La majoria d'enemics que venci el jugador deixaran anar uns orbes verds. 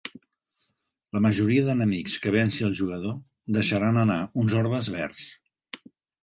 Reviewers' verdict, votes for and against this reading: accepted, 3, 0